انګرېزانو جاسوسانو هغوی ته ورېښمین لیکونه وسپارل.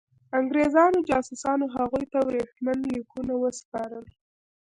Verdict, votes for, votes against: accepted, 2, 0